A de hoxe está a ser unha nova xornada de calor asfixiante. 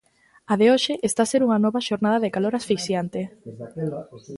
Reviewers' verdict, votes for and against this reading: rejected, 1, 2